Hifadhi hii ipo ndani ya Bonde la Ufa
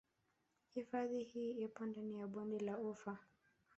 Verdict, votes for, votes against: accepted, 2, 0